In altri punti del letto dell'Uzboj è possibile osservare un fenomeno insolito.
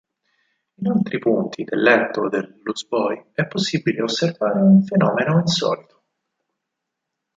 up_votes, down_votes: 0, 4